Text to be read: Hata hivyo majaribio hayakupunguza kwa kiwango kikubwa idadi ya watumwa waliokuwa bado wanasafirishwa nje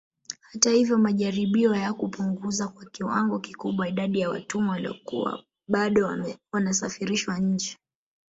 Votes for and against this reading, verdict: 0, 2, rejected